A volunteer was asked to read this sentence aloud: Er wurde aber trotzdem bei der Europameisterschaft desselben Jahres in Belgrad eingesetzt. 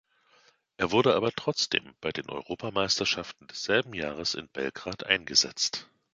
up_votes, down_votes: 1, 2